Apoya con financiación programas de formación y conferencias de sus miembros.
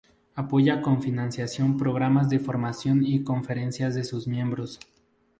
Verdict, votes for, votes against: accepted, 2, 0